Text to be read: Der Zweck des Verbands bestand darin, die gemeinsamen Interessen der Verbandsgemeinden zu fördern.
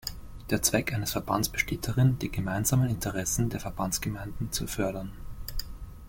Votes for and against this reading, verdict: 0, 2, rejected